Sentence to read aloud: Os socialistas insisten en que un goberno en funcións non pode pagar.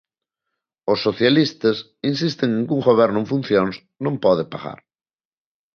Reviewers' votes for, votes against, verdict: 2, 0, accepted